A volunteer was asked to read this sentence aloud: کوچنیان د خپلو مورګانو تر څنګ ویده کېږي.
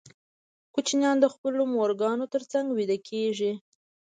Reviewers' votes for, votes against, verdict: 2, 0, accepted